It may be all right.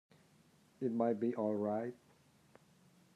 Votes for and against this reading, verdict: 1, 2, rejected